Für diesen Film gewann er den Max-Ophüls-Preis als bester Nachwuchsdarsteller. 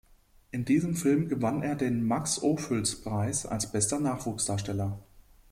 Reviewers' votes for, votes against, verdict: 0, 2, rejected